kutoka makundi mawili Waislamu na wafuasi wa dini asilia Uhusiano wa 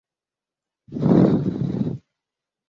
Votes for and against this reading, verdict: 0, 2, rejected